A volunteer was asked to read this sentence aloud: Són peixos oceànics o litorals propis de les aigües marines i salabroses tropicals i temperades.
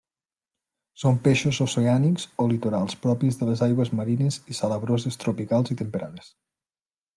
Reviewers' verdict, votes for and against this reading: accepted, 2, 0